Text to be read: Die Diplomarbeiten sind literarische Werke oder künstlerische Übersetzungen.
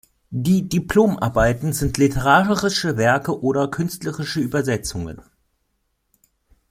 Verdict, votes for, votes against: rejected, 0, 2